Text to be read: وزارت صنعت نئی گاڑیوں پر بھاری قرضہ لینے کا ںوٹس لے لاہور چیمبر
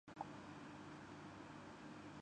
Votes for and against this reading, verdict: 0, 8, rejected